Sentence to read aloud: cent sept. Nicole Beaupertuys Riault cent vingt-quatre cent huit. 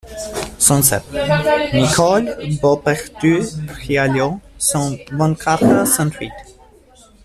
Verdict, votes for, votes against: rejected, 1, 2